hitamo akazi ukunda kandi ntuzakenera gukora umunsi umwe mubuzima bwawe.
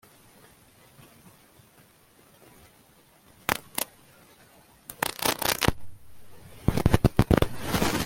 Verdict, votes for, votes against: rejected, 1, 2